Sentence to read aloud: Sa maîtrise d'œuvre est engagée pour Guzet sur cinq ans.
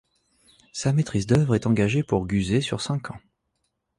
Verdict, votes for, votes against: accepted, 2, 0